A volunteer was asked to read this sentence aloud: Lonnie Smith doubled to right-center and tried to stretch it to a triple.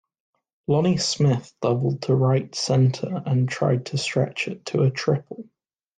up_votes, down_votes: 1, 2